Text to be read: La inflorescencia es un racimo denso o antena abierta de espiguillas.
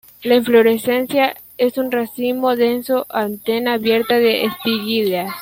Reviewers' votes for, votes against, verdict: 1, 2, rejected